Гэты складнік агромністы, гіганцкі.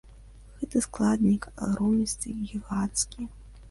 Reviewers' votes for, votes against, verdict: 2, 0, accepted